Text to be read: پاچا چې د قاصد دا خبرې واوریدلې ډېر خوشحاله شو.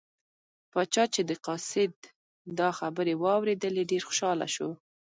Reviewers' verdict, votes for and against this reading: rejected, 1, 2